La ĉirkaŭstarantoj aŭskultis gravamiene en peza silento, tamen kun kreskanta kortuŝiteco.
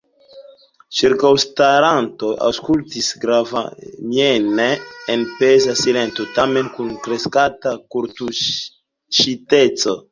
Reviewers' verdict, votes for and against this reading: rejected, 0, 2